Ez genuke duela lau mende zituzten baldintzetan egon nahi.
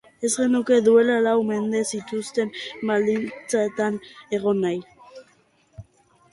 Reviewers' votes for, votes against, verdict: 2, 0, accepted